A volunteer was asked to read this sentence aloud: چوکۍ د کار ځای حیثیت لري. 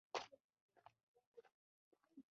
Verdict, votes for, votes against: rejected, 0, 2